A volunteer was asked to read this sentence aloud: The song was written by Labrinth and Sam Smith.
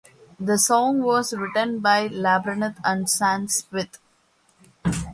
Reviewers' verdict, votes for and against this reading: accepted, 2, 1